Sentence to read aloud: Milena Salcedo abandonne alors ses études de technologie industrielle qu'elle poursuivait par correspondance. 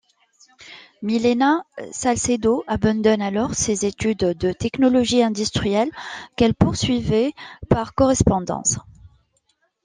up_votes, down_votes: 2, 1